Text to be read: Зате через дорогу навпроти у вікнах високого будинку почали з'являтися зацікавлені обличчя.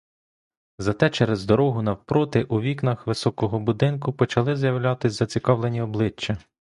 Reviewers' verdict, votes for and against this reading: rejected, 1, 2